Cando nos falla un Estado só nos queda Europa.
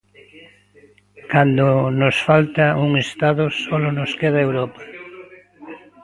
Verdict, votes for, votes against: rejected, 0, 2